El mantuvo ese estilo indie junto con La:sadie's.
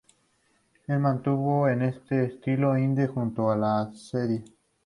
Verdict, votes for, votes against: rejected, 0, 2